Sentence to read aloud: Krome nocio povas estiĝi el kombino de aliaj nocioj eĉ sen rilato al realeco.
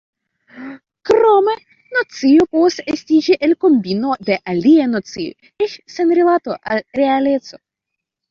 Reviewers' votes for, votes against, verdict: 1, 2, rejected